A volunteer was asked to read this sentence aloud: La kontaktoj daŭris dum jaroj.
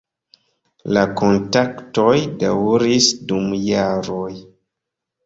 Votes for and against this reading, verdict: 2, 1, accepted